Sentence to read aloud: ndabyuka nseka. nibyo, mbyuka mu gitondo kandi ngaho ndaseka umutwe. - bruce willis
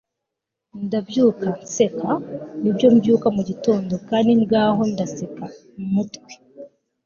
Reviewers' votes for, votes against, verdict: 2, 1, accepted